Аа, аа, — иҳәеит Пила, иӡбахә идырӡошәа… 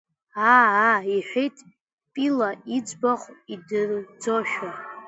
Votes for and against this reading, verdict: 0, 2, rejected